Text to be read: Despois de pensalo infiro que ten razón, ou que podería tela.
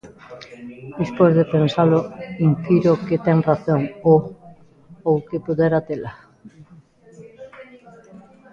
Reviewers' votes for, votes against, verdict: 0, 2, rejected